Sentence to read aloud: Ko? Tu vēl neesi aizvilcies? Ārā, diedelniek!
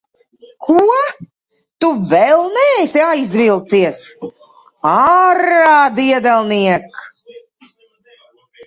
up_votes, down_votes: 2, 0